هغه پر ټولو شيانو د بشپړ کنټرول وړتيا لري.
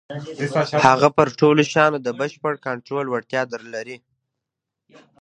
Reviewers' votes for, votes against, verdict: 2, 0, accepted